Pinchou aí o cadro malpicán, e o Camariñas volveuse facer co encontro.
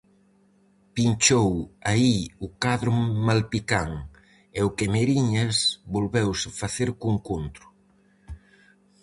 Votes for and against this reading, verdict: 2, 4, rejected